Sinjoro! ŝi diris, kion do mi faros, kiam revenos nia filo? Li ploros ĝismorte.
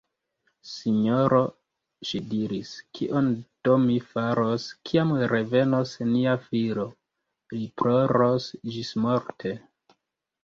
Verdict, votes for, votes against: rejected, 0, 2